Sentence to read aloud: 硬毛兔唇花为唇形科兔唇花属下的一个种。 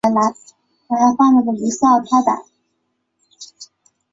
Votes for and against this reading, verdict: 0, 3, rejected